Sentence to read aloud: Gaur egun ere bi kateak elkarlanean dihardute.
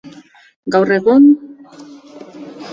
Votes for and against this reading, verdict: 0, 2, rejected